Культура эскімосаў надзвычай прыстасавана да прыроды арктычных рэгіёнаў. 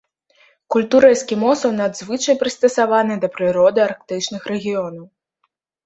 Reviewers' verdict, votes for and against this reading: accepted, 2, 0